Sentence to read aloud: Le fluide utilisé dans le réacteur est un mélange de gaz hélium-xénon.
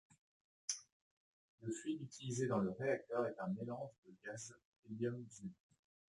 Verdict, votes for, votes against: rejected, 0, 2